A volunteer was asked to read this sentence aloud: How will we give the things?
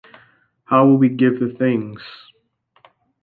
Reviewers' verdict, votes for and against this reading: accepted, 2, 0